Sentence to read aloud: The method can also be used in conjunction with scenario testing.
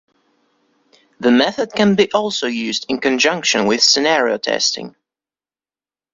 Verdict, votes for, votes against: accepted, 2, 0